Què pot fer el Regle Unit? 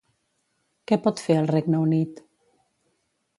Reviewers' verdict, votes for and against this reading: rejected, 1, 2